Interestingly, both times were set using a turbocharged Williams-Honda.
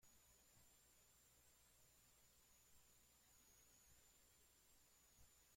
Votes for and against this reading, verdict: 0, 2, rejected